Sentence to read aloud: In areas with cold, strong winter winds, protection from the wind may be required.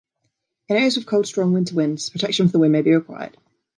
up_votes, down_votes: 2, 1